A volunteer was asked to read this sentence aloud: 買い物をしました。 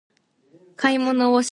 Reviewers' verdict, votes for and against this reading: rejected, 2, 3